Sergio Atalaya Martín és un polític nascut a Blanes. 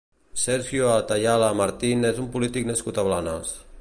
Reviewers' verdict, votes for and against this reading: rejected, 0, 2